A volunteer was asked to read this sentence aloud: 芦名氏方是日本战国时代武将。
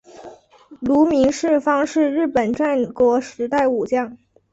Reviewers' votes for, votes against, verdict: 2, 1, accepted